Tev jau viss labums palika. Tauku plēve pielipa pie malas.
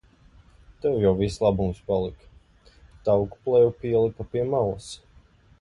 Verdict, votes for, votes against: accepted, 2, 0